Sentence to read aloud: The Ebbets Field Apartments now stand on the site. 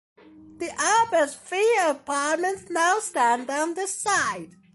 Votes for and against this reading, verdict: 2, 1, accepted